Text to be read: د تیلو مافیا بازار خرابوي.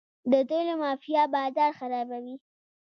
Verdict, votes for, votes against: rejected, 0, 2